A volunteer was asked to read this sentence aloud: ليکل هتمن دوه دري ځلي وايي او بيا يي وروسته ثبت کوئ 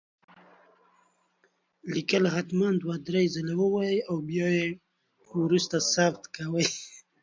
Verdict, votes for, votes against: accepted, 2, 1